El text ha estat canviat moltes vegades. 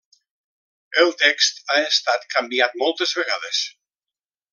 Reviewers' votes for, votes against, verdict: 3, 0, accepted